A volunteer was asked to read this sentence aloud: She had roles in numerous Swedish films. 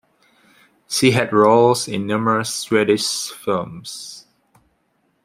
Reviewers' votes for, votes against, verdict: 2, 0, accepted